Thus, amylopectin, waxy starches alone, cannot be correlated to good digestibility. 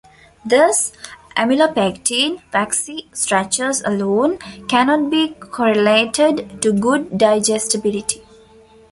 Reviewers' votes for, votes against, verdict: 2, 0, accepted